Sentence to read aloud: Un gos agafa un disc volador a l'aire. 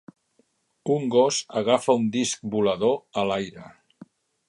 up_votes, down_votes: 3, 0